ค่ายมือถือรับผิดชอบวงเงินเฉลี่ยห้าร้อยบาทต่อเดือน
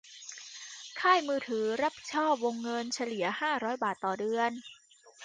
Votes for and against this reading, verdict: 2, 0, accepted